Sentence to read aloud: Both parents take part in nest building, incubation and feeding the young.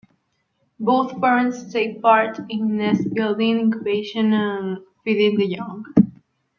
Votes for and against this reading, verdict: 0, 2, rejected